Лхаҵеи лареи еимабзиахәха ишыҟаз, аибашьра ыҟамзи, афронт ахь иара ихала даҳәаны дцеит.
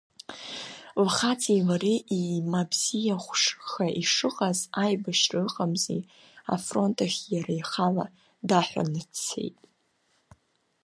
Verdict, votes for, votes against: rejected, 1, 2